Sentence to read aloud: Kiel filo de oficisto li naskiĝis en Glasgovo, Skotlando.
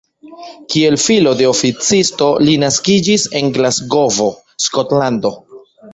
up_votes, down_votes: 2, 1